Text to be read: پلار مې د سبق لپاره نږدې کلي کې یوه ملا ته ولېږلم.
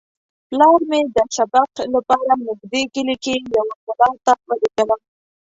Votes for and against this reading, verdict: 1, 2, rejected